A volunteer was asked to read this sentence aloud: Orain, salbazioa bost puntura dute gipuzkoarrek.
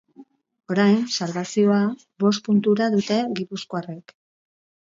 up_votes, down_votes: 8, 0